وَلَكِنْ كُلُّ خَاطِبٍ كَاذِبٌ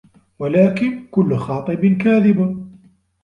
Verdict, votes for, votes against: accepted, 2, 0